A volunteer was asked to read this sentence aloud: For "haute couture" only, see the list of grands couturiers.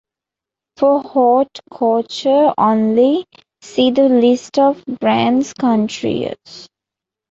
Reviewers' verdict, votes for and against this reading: rejected, 1, 2